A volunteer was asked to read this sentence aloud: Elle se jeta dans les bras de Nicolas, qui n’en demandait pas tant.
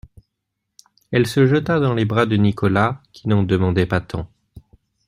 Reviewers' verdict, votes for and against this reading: accepted, 2, 0